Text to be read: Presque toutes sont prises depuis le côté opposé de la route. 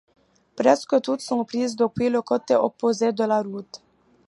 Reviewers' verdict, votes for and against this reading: accepted, 2, 0